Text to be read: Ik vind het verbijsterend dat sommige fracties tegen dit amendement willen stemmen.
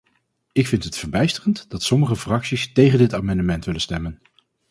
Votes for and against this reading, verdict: 4, 0, accepted